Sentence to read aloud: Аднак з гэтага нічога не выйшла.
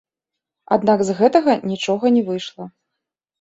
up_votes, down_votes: 1, 2